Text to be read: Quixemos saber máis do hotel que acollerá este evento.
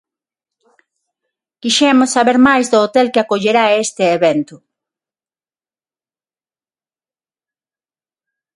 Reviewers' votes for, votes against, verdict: 6, 0, accepted